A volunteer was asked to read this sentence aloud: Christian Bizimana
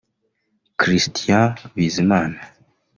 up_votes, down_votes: 2, 1